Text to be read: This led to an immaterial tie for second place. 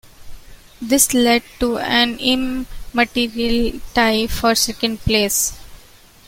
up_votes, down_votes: 1, 2